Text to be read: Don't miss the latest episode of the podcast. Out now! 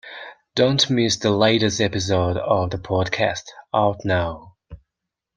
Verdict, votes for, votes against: accepted, 2, 0